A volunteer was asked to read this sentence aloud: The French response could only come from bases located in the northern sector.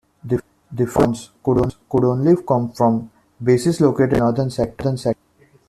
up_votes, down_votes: 0, 2